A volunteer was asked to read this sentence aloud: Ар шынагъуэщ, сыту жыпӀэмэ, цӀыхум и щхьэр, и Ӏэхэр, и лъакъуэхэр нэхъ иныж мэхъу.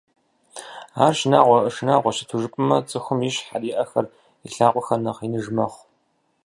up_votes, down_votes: 0, 4